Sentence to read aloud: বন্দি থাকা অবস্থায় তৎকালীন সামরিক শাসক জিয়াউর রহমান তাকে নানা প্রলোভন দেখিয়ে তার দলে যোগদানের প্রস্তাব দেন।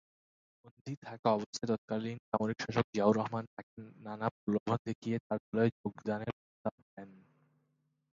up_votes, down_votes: 2, 4